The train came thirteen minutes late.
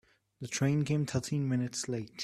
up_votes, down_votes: 3, 0